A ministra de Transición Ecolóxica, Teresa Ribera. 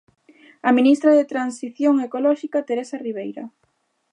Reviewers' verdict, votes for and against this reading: rejected, 0, 2